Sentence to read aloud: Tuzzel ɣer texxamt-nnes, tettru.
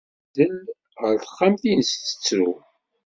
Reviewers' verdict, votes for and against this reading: rejected, 0, 2